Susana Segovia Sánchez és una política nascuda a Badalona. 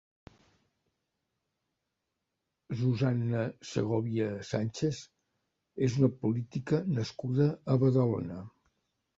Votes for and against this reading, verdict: 1, 2, rejected